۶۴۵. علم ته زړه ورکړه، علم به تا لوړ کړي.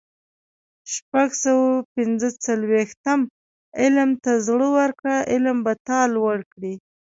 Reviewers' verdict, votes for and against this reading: rejected, 0, 2